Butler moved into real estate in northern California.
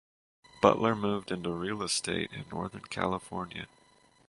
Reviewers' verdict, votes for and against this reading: accepted, 4, 2